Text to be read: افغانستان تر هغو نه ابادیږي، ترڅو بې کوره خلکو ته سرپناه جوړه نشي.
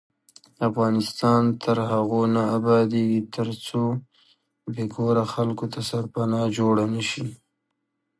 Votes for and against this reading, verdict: 1, 2, rejected